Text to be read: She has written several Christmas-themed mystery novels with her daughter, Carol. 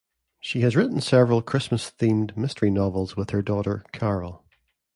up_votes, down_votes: 2, 0